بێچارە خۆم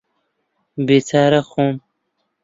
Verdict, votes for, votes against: rejected, 1, 2